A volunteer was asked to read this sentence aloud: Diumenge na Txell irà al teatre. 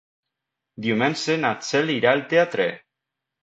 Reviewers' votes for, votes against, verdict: 0, 2, rejected